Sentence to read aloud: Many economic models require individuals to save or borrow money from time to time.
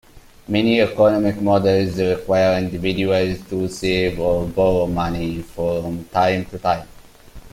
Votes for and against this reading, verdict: 2, 1, accepted